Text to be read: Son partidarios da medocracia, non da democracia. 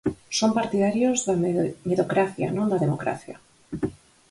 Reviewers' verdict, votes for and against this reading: rejected, 2, 4